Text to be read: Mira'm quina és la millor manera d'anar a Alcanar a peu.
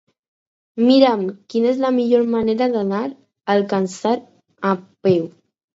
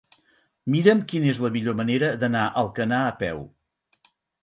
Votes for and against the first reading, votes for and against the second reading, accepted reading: 2, 4, 6, 0, second